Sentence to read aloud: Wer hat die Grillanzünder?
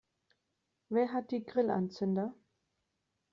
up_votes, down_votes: 2, 0